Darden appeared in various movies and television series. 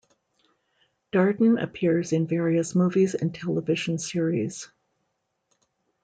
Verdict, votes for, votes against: rejected, 0, 2